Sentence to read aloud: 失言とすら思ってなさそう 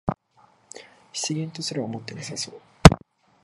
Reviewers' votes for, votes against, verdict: 2, 1, accepted